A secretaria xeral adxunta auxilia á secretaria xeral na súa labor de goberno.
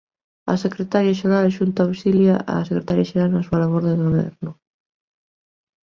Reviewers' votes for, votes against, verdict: 2, 0, accepted